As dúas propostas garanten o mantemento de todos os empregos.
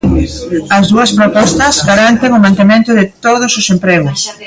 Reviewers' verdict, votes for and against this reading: rejected, 1, 2